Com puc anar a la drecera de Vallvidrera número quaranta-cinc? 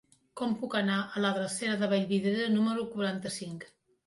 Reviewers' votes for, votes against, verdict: 2, 1, accepted